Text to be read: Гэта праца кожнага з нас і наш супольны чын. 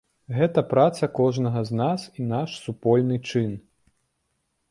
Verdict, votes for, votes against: accepted, 2, 0